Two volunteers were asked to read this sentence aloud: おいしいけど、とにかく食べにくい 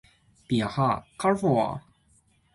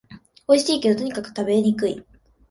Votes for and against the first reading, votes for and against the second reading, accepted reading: 0, 2, 2, 1, second